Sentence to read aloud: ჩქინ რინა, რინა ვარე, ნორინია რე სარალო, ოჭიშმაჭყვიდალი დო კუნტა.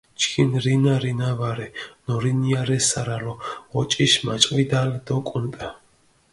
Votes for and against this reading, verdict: 2, 0, accepted